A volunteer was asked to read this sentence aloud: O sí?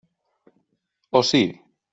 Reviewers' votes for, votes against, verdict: 2, 0, accepted